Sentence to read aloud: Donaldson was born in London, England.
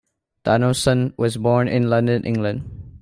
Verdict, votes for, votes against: accepted, 2, 0